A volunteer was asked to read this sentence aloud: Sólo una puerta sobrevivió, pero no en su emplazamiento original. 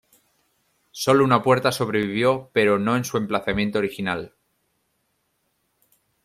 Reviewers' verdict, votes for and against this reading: accepted, 2, 0